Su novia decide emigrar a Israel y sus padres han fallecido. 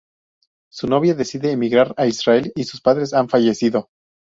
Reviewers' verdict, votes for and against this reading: accepted, 2, 0